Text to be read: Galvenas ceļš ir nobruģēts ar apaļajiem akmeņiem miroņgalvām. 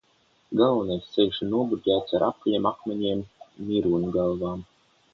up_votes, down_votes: 0, 3